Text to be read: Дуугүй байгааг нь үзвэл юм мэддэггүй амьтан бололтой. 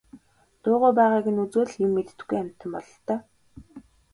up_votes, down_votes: 2, 0